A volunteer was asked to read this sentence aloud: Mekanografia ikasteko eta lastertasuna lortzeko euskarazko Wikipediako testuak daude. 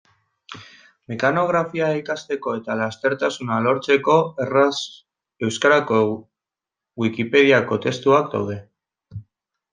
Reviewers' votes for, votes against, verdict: 0, 2, rejected